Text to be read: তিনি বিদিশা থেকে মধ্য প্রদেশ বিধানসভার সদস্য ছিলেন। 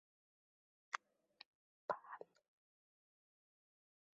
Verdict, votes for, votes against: rejected, 1, 2